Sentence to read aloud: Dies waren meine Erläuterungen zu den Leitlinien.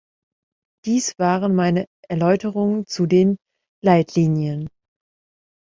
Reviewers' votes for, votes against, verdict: 2, 0, accepted